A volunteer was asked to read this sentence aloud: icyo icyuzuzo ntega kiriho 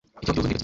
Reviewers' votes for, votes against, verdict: 1, 2, rejected